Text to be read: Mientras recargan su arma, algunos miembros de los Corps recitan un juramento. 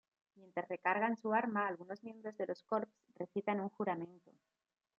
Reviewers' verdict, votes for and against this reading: accepted, 2, 1